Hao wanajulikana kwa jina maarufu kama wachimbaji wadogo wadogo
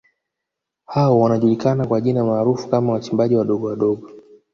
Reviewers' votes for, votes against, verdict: 1, 2, rejected